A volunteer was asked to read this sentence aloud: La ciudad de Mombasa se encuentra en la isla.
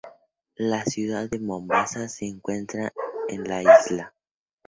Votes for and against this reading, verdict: 4, 0, accepted